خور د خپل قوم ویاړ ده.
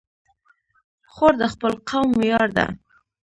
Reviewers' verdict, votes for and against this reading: accepted, 2, 1